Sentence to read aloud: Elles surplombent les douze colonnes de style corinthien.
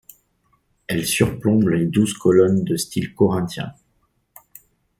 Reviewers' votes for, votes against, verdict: 2, 0, accepted